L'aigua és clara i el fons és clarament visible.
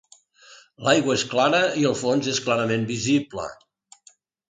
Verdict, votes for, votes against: accepted, 2, 0